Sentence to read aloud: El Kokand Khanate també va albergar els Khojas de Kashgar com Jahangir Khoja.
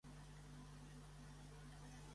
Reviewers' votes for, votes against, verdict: 1, 2, rejected